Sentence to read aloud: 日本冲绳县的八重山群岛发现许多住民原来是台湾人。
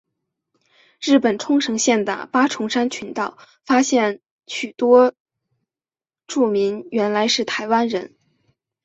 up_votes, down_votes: 3, 0